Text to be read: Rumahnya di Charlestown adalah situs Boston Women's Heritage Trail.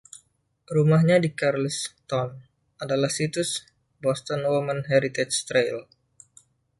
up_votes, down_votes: 0, 2